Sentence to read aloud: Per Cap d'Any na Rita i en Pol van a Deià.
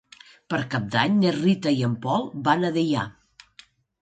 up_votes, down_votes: 3, 0